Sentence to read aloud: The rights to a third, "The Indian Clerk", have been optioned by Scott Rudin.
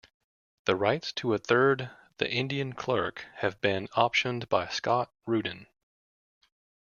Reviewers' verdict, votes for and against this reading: accepted, 2, 0